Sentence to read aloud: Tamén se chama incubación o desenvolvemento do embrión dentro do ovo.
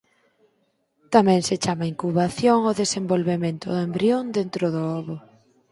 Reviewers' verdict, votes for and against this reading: accepted, 4, 0